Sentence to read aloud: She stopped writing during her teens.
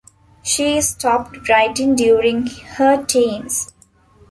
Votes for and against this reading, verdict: 1, 2, rejected